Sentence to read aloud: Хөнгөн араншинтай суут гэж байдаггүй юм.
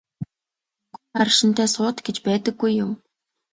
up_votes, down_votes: 2, 0